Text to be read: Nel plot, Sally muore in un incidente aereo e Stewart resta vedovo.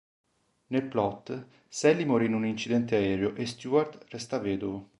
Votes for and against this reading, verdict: 2, 1, accepted